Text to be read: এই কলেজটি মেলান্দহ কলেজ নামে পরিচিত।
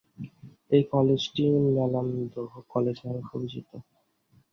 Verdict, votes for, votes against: rejected, 0, 2